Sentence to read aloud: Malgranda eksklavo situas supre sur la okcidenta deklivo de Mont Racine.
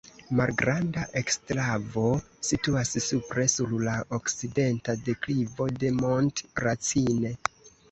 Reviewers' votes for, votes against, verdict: 1, 2, rejected